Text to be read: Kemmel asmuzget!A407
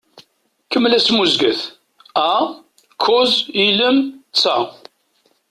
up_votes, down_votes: 0, 2